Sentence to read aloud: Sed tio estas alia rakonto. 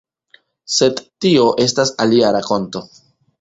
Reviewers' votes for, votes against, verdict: 1, 2, rejected